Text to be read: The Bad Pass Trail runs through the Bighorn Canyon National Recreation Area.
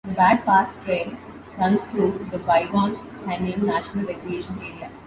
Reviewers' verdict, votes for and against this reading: accepted, 2, 0